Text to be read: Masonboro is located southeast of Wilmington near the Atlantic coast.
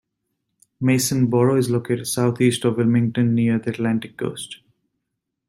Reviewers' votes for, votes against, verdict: 2, 0, accepted